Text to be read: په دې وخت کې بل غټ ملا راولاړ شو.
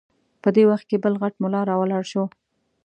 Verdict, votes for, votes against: accepted, 2, 0